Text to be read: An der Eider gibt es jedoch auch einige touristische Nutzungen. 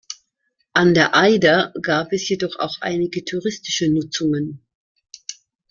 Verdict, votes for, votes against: rejected, 0, 2